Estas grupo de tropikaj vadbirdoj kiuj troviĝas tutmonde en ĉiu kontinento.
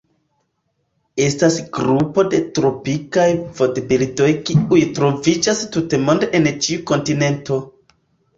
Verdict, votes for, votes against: rejected, 1, 2